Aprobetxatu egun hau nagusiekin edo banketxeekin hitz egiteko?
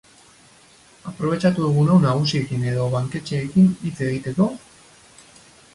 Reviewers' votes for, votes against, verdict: 2, 4, rejected